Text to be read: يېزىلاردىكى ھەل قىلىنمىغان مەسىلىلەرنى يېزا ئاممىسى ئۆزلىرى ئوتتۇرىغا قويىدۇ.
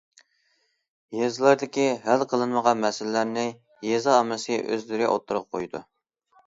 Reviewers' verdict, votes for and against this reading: accepted, 2, 0